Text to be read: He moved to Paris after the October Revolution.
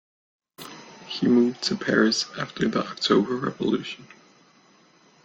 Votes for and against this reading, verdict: 3, 0, accepted